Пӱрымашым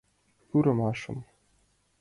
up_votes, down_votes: 2, 0